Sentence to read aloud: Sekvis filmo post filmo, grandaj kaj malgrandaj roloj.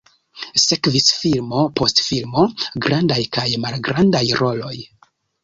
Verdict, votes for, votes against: accepted, 2, 1